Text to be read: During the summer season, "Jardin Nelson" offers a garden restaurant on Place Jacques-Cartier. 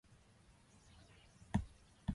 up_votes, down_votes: 0, 4